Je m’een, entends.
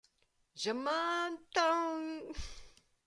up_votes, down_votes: 0, 2